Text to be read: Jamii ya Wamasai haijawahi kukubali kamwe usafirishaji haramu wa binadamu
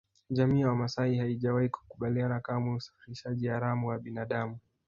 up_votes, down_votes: 1, 2